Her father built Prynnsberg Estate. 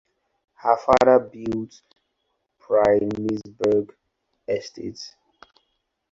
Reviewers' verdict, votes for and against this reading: rejected, 0, 4